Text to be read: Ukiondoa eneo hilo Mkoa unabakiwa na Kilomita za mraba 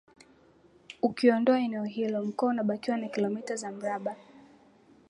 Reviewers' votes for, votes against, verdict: 3, 0, accepted